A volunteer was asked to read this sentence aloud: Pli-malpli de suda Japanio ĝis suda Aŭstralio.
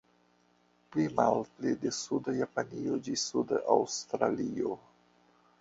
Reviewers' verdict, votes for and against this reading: accepted, 2, 1